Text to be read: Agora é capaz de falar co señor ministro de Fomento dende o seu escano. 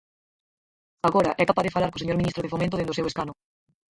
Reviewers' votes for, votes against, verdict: 2, 4, rejected